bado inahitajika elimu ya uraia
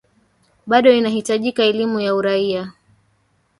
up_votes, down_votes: 2, 1